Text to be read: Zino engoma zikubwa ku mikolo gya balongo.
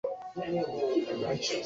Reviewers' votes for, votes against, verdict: 0, 2, rejected